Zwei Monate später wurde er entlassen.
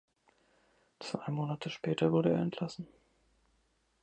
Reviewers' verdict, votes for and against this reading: accepted, 2, 0